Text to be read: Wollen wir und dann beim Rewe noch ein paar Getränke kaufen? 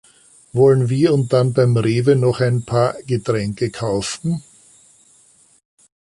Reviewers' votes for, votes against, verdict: 3, 0, accepted